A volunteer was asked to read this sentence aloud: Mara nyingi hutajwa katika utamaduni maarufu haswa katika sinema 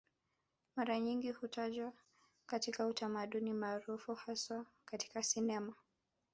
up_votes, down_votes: 4, 0